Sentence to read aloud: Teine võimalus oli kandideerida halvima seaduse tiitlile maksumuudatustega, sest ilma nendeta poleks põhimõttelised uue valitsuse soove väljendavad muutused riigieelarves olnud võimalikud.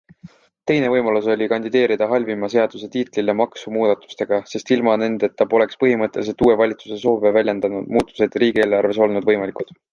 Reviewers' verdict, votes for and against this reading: accepted, 2, 0